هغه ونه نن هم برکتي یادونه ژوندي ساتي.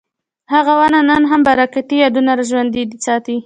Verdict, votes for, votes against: accepted, 2, 0